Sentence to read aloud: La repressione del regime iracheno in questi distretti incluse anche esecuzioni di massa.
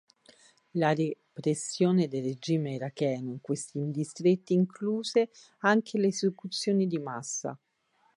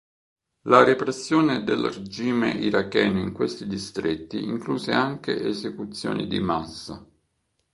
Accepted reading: second